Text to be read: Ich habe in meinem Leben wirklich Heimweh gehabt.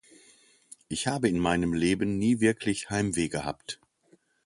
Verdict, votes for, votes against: rejected, 0, 2